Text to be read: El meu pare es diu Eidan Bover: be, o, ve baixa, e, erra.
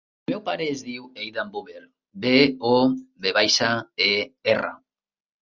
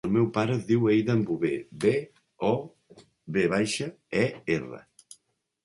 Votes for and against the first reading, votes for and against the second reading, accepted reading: 1, 2, 2, 0, second